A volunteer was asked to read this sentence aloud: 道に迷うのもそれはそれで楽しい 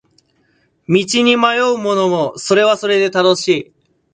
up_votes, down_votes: 0, 2